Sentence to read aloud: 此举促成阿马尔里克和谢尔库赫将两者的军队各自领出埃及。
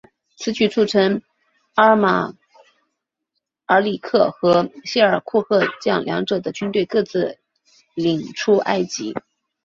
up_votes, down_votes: 2, 1